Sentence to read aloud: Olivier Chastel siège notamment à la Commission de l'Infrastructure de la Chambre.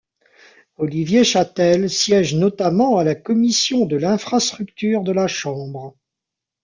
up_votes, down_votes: 1, 2